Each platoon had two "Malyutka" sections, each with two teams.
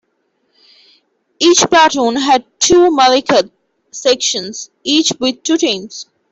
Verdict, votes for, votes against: rejected, 1, 2